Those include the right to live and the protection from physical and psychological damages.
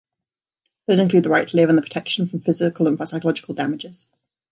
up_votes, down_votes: 2, 1